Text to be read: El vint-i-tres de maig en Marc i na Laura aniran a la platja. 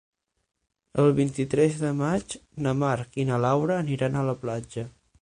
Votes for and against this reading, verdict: 0, 6, rejected